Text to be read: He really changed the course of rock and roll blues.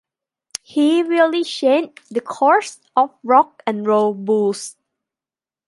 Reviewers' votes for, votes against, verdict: 1, 2, rejected